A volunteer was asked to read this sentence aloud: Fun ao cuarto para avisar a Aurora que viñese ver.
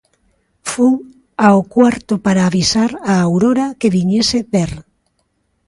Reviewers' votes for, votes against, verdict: 2, 0, accepted